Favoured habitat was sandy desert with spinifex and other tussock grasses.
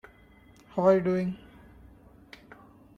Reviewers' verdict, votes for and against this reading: rejected, 0, 2